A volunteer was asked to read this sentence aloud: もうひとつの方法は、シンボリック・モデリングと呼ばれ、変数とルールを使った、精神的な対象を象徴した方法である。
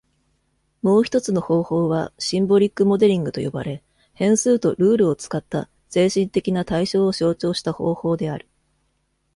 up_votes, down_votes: 2, 1